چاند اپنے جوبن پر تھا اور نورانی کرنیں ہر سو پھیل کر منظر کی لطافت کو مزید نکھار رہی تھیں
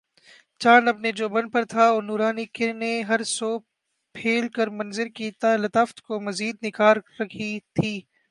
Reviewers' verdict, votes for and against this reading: rejected, 1, 3